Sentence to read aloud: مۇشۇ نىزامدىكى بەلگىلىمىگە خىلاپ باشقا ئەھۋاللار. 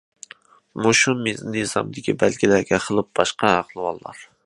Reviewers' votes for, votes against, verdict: 0, 2, rejected